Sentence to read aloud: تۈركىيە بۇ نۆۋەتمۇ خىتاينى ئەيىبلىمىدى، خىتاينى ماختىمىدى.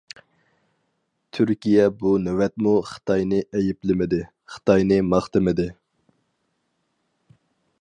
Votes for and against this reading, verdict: 4, 0, accepted